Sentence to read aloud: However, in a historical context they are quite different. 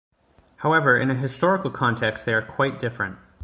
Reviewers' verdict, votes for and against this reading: accepted, 2, 0